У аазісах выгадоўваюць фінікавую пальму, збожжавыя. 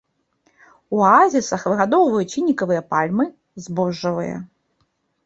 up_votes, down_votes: 1, 2